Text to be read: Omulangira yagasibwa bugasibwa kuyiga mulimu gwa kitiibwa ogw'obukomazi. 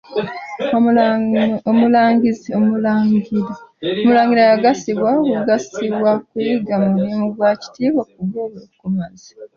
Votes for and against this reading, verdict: 0, 2, rejected